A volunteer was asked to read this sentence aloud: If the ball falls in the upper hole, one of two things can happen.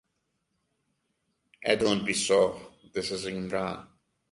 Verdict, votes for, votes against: rejected, 0, 2